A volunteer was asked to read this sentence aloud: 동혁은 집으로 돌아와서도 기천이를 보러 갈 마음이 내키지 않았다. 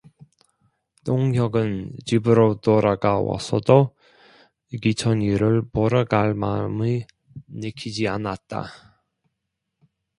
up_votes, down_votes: 1, 2